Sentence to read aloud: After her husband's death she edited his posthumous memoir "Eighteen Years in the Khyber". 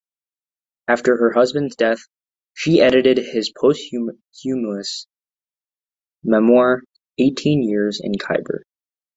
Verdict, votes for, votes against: rejected, 0, 2